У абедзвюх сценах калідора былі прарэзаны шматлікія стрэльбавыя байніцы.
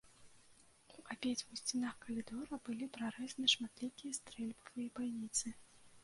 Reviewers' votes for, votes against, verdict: 0, 2, rejected